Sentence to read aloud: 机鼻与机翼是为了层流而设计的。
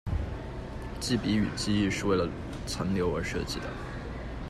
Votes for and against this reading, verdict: 2, 1, accepted